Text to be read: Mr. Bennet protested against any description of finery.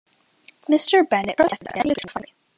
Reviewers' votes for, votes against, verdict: 0, 2, rejected